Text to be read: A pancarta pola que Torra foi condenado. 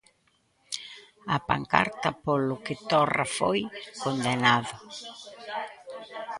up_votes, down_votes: 0, 2